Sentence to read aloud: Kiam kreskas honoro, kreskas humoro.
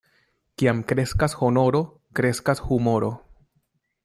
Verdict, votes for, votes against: accepted, 2, 0